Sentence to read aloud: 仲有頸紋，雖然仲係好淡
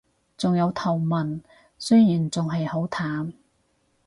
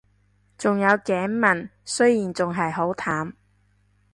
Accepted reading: second